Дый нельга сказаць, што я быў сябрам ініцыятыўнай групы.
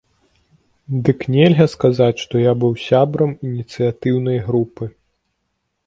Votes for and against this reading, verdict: 0, 2, rejected